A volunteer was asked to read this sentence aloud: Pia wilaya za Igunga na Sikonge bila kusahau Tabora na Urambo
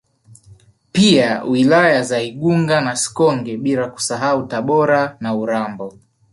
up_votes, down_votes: 4, 1